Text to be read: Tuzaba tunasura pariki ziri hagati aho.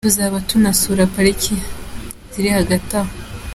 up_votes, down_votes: 2, 0